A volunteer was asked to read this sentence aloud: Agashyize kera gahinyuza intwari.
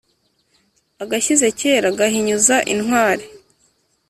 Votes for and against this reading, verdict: 2, 0, accepted